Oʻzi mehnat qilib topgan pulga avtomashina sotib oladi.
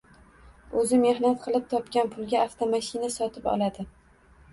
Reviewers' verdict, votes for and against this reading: rejected, 1, 2